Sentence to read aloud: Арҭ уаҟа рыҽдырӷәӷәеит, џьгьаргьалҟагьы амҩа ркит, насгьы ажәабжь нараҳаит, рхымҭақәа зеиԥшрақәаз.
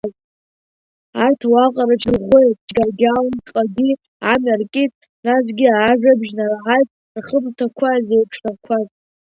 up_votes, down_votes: 1, 2